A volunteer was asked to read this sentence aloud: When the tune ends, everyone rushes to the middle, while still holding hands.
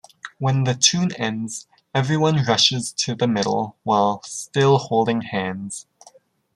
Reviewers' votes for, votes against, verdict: 2, 0, accepted